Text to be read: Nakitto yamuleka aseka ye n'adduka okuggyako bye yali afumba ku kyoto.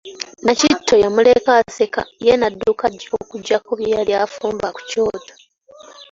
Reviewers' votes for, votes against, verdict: 2, 1, accepted